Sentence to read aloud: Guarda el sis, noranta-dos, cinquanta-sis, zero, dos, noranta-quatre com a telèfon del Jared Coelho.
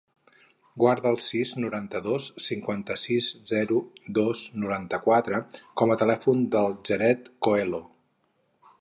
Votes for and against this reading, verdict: 2, 2, rejected